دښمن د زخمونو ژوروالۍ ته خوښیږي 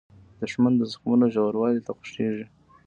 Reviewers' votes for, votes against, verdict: 2, 1, accepted